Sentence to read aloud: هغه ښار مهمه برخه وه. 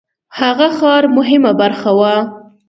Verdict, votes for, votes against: rejected, 1, 2